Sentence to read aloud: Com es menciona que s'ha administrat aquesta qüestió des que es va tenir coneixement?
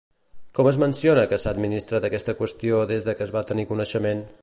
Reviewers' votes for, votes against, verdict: 0, 2, rejected